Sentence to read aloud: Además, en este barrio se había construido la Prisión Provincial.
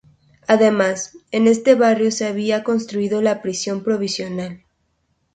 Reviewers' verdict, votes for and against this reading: rejected, 0, 2